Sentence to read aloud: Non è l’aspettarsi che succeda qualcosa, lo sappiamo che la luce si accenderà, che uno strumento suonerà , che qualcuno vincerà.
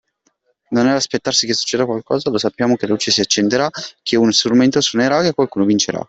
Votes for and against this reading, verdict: 2, 1, accepted